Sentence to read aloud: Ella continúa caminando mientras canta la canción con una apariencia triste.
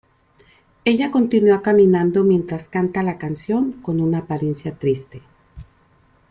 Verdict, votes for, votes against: accepted, 2, 0